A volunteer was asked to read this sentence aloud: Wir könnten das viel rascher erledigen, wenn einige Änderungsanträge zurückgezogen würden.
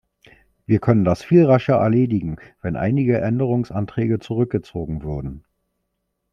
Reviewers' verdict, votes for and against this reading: rejected, 1, 2